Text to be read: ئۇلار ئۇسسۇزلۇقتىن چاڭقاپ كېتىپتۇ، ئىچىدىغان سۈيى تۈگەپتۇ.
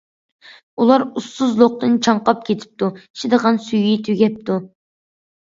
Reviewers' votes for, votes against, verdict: 2, 0, accepted